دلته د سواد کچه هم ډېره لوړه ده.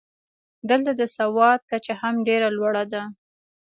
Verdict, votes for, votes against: accepted, 2, 0